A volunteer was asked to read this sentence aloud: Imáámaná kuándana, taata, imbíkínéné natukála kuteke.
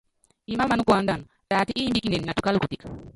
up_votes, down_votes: 0, 2